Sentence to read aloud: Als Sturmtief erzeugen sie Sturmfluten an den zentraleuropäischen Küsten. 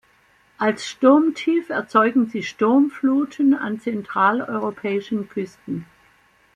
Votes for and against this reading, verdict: 0, 2, rejected